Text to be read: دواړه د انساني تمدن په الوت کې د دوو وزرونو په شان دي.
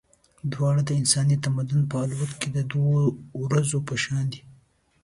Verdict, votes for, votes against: rejected, 1, 2